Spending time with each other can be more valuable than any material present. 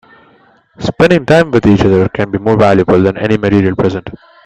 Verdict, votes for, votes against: rejected, 1, 2